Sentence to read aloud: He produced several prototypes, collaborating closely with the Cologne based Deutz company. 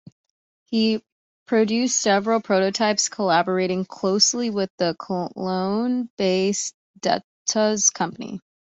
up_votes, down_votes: 0, 2